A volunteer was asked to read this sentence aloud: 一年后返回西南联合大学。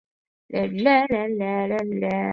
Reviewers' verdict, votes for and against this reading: rejected, 0, 3